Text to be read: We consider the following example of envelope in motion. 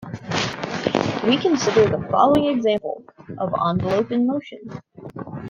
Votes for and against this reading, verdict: 0, 2, rejected